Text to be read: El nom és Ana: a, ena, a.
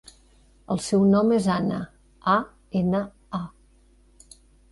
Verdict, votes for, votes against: rejected, 1, 2